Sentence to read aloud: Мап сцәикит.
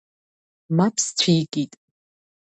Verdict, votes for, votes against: accepted, 2, 0